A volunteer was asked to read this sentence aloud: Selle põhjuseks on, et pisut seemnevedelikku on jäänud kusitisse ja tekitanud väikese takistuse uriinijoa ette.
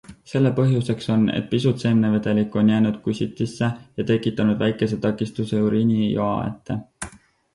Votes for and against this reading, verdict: 4, 0, accepted